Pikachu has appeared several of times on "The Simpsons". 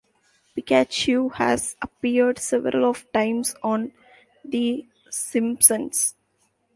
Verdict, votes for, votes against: rejected, 1, 2